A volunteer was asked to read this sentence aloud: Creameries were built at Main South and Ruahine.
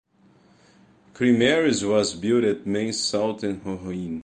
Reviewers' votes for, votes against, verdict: 0, 2, rejected